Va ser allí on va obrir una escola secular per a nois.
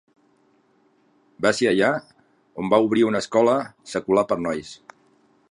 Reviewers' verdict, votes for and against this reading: rejected, 0, 2